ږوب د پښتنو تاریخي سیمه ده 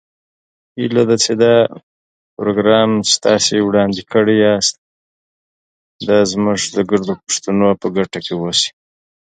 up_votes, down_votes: 0, 2